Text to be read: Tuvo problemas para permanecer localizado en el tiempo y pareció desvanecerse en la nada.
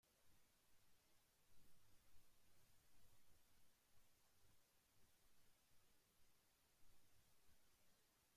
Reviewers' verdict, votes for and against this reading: rejected, 0, 2